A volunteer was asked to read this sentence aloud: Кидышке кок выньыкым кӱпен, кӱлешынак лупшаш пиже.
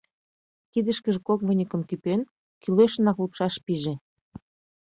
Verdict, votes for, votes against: rejected, 0, 2